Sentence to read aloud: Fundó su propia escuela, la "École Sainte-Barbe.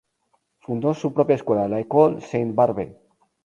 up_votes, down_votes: 0, 2